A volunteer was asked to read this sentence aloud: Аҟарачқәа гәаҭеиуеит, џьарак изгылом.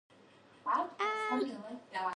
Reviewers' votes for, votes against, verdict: 0, 2, rejected